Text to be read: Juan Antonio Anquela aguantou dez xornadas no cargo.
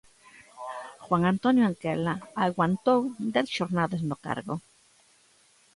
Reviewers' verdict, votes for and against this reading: accepted, 3, 0